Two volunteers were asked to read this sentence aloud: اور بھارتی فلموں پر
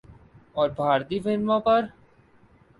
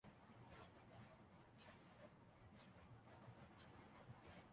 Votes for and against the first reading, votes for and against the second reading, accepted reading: 5, 0, 0, 2, first